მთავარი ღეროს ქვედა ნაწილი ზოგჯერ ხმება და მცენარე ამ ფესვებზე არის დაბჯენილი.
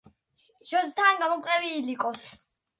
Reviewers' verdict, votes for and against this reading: rejected, 0, 2